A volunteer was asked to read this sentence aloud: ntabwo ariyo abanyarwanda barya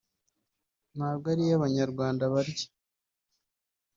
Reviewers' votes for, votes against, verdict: 1, 2, rejected